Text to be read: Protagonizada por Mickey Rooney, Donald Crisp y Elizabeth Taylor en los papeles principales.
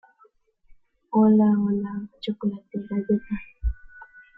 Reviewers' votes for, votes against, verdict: 0, 2, rejected